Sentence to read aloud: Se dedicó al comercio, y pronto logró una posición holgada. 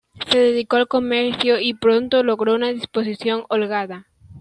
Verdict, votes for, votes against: accepted, 2, 0